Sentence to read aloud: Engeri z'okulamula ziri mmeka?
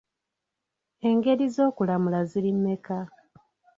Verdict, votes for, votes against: rejected, 0, 2